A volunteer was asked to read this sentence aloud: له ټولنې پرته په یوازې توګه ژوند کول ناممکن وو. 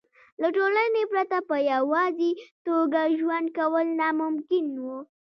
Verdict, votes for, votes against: accepted, 2, 0